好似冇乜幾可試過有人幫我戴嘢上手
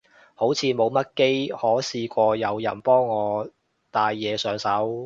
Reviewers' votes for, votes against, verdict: 1, 2, rejected